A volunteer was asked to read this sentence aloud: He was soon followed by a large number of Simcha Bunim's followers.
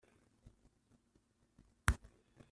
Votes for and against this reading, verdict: 0, 2, rejected